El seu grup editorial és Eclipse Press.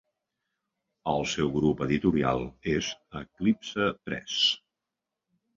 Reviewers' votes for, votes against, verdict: 3, 0, accepted